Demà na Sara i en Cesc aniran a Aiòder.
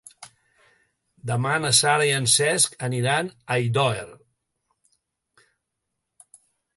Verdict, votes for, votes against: rejected, 0, 2